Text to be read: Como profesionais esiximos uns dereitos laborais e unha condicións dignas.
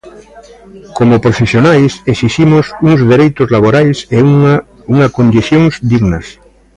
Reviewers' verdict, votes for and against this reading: rejected, 0, 2